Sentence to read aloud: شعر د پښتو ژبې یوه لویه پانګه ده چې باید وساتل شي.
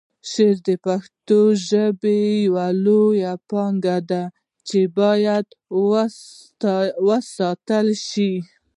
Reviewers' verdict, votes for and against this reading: rejected, 0, 2